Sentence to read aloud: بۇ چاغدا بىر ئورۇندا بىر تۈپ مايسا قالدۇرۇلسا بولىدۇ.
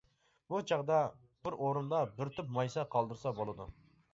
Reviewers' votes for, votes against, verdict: 0, 2, rejected